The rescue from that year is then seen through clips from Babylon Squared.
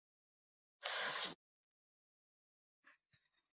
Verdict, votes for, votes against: rejected, 0, 2